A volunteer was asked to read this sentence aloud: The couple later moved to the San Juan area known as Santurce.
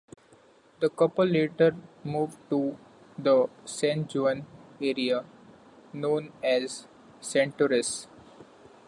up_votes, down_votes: 1, 2